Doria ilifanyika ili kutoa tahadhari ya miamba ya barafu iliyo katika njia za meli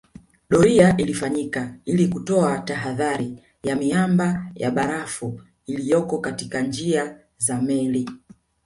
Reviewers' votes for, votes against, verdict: 2, 0, accepted